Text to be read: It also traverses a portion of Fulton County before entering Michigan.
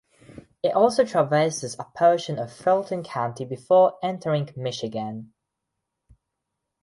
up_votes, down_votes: 2, 0